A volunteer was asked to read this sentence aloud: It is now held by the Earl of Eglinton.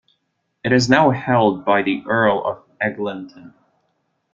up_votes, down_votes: 1, 2